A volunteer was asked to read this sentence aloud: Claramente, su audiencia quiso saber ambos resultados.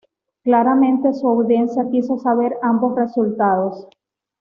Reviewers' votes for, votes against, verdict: 3, 0, accepted